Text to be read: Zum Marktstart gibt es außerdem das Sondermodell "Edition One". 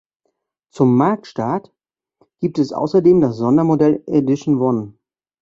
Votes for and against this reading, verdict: 2, 0, accepted